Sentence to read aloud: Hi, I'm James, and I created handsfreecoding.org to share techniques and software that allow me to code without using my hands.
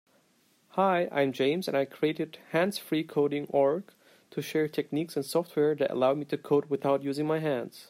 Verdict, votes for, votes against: rejected, 1, 2